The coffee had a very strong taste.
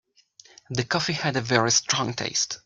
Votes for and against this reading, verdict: 2, 1, accepted